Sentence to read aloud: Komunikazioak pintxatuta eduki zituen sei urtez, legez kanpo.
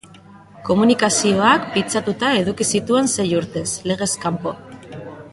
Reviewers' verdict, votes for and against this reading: accepted, 2, 0